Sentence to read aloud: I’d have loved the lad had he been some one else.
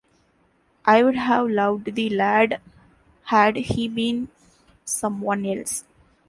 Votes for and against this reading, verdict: 1, 2, rejected